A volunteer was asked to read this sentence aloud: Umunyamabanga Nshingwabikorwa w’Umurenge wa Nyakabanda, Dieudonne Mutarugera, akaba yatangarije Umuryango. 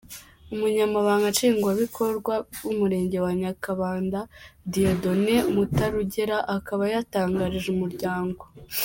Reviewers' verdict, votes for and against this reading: accepted, 2, 1